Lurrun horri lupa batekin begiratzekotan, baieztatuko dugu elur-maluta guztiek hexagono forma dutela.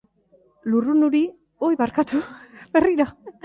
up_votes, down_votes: 1, 2